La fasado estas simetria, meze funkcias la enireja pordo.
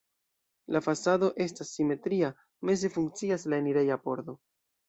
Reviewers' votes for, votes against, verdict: 1, 2, rejected